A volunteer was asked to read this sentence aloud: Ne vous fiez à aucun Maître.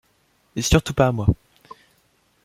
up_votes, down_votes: 0, 2